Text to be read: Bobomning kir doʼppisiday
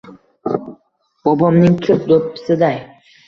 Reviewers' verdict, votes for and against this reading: rejected, 1, 2